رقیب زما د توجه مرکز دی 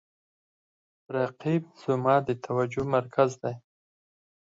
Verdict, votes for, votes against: accepted, 4, 0